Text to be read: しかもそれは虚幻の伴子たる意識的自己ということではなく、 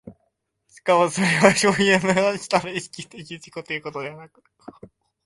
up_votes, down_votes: 0, 2